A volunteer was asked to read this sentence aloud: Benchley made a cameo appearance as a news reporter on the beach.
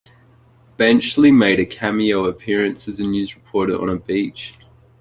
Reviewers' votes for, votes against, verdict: 2, 0, accepted